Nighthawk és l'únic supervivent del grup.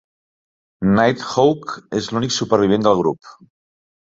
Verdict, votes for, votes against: accepted, 2, 0